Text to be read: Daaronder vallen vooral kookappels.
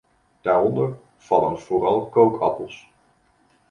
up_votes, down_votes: 1, 2